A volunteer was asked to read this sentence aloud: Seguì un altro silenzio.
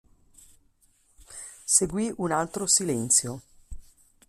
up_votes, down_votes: 2, 0